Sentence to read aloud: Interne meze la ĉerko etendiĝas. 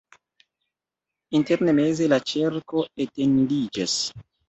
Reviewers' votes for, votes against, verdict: 2, 0, accepted